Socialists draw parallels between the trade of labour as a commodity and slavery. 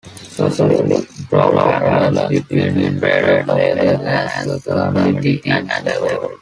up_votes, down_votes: 0, 2